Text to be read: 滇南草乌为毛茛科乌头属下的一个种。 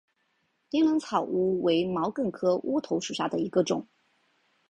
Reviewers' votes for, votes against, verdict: 2, 3, rejected